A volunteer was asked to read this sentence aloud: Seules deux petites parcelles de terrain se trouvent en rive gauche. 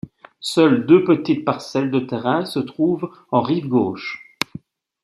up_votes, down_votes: 2, 0